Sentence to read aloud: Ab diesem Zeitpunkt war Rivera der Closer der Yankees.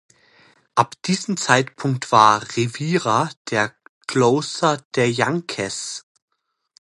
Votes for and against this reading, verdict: 0, 2, rejected